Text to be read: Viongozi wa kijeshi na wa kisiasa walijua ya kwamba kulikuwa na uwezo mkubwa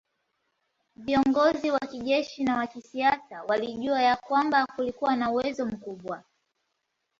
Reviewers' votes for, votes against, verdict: 2, 0, accepted